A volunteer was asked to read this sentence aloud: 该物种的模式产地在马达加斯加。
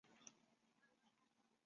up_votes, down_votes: 0, 4